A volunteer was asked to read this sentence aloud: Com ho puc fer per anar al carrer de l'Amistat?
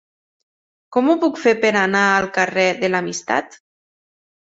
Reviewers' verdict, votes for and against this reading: accepted, 3, 0